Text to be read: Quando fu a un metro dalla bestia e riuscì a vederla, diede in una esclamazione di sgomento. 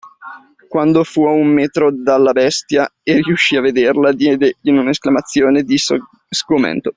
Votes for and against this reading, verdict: 2, 1, accepted